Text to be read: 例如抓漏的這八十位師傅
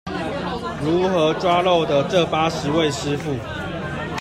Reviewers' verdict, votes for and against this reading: rejected, 0, 2